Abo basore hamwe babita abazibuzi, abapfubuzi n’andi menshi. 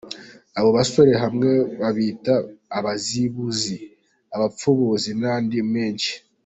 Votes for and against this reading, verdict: 3, 0, accepted